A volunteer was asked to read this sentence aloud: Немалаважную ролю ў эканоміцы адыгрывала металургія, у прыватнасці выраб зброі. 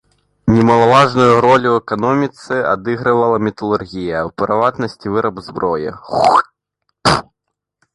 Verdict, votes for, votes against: rejected, 0, 2